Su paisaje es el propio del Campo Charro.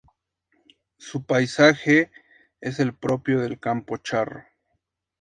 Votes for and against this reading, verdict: 4, 0, accepted